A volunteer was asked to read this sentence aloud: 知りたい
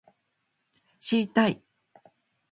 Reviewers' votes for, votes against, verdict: 1, 2, rejected